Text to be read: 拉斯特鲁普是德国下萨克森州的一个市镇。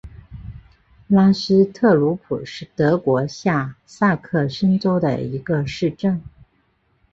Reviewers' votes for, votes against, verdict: 2, 0, accepted